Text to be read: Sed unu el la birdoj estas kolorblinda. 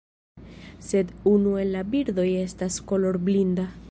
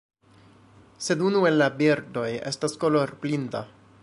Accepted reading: second